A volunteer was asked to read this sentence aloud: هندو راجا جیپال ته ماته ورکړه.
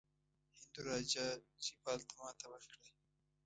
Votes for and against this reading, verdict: 1, 2, rejected